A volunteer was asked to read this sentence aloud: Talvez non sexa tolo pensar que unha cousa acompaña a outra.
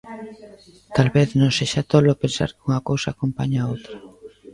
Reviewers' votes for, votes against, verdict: 1, 2, rejected